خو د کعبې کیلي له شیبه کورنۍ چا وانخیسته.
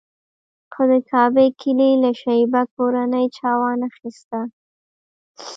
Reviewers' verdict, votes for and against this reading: rejected, 0, 2